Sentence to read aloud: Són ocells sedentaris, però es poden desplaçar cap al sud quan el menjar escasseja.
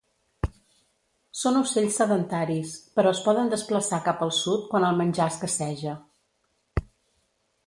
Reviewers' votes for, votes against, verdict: 2, 0, accepted